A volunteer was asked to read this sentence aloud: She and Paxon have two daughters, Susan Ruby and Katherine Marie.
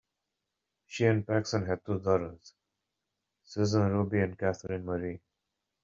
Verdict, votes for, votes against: accepted, 2, 1